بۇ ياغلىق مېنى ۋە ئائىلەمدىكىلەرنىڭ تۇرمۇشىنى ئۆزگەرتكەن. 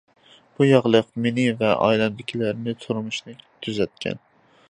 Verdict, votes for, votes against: rejected, 0, 2